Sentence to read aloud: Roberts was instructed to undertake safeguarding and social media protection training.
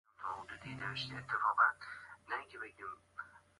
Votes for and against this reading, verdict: 0, 2, rejected